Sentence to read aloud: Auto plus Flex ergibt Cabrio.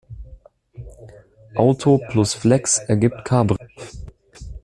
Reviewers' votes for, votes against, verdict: 0, 2, rejected